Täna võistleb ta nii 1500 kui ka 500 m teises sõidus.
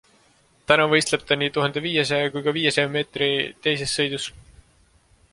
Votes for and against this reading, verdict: 0, 2, rejected